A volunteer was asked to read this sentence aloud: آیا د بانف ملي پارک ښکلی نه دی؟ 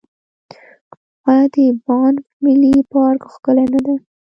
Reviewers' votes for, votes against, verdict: 1, 2, rejected